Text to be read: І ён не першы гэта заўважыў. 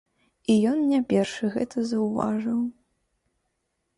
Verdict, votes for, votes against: accepted, 2, 0